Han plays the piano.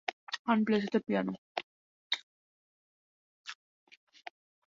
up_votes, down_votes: 2, 0